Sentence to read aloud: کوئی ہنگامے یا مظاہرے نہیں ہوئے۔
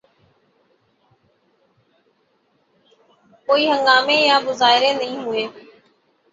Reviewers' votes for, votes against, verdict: 0, 6, rejected